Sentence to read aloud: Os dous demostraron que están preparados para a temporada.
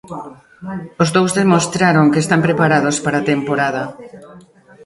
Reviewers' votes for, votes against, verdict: 2, 0, accepted